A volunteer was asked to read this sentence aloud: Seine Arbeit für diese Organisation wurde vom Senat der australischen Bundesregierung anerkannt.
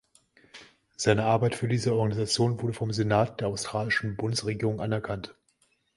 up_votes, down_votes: 2, 0